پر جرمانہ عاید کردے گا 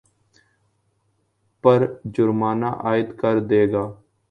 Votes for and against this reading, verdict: 2, 0, accepted